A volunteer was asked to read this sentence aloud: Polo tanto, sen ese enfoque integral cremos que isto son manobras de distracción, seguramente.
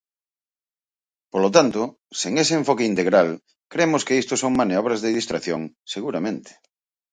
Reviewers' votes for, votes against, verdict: 0, 4, rejected